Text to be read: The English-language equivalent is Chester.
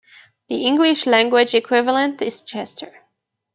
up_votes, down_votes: 2, 0